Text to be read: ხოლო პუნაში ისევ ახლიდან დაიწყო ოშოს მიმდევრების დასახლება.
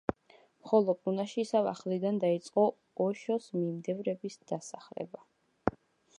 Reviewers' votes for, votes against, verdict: 2, 0, accepted